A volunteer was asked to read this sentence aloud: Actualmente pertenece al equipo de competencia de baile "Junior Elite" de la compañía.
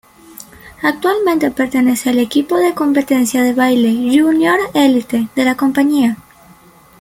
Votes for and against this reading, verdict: 2, 0, accepted